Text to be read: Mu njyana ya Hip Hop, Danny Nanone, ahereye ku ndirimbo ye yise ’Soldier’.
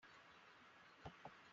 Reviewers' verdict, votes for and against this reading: rejected, 0, 4